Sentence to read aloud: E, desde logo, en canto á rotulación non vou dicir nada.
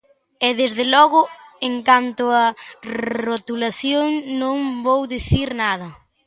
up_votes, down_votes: 2, 0